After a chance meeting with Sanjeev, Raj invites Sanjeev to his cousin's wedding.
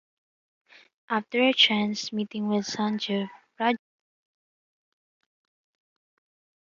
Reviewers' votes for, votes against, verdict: 0, 2, rejected